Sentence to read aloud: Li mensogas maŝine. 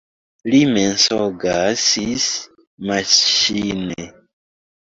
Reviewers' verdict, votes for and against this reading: rejected, 0, 2